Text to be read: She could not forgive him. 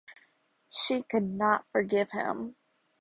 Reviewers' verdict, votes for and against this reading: accepted, 4, 0